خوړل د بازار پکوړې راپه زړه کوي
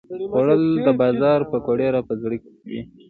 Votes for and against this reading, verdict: 2, 0, accepted